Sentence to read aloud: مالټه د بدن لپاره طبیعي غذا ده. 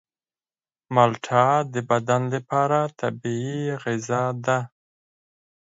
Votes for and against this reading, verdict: 4, 0, accepted